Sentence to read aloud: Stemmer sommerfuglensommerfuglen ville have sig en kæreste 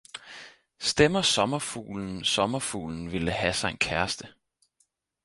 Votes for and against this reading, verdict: 4, 0, accepted